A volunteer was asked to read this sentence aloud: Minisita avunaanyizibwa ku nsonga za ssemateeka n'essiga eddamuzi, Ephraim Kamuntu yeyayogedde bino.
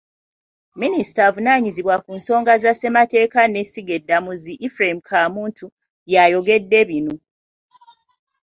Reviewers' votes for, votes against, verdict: 0, 2, rejected